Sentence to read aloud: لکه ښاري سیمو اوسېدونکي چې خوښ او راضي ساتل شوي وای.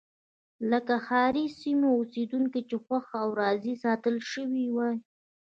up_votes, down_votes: 1, 2